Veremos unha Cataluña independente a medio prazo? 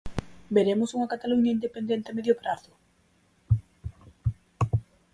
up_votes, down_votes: 4, 0